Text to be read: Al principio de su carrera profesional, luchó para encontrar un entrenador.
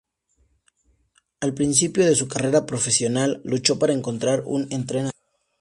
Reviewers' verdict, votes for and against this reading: rejected, 0, 2